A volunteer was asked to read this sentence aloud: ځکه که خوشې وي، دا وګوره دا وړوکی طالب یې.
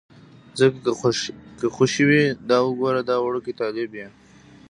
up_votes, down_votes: 0, 2